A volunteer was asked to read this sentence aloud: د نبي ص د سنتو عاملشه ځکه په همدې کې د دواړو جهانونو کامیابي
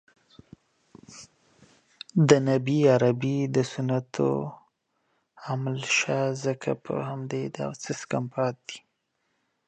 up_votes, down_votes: 0, 4